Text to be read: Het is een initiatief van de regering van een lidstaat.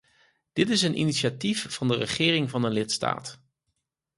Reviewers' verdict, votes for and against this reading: rejected, 2, 4